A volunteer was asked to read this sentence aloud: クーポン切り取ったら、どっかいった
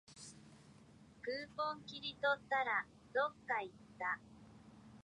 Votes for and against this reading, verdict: 0, 2, rejected